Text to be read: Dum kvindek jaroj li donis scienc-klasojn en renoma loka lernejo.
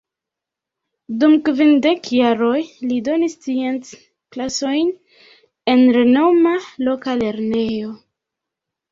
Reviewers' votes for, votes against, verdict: 2, 3, rejected